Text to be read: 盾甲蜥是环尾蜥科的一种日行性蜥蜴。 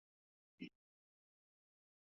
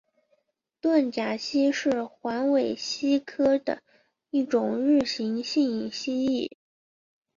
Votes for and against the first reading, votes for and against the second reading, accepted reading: 0, 2, 2, 0, second